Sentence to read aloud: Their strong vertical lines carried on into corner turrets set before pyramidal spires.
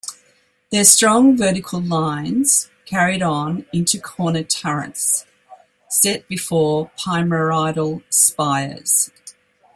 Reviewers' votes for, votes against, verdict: 1, 2, rejected